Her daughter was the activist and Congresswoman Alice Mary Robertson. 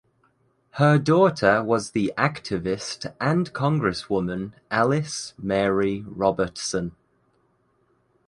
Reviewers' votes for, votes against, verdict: 2, 0, accepted